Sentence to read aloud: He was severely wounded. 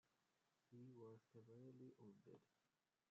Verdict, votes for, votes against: rejected, 0, 2